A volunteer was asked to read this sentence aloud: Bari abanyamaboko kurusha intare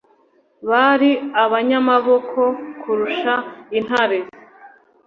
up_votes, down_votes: 2, 0